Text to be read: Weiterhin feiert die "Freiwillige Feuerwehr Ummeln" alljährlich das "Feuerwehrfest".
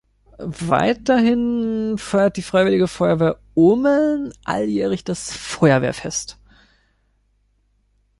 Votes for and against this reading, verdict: 2, 0, accepted